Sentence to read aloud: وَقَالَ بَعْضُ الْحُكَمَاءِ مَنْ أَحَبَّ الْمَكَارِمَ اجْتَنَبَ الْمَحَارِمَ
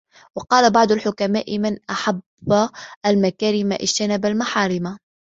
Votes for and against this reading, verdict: 2, 0, accepted